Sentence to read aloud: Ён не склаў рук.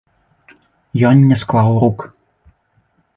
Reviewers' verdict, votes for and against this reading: rejected, 0, 2